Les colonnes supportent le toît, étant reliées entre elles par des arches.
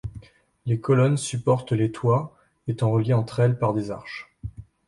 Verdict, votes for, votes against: accepted, 2, 1